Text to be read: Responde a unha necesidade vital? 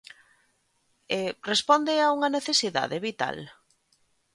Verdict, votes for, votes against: rejected, 1, 2